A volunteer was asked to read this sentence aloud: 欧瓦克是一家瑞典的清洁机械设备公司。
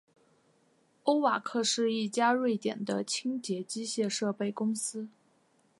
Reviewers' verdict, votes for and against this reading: accepted, 2, 1